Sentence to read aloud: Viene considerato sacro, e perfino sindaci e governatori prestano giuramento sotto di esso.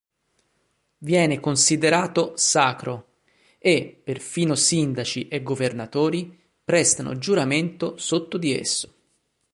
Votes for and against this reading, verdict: 2, 0, accepted